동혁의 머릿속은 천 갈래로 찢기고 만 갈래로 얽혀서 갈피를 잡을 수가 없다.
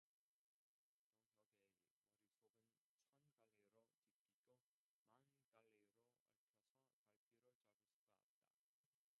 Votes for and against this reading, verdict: 0, 2, rejected